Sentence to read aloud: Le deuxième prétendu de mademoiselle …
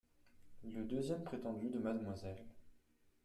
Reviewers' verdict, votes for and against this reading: rejected, 0, 2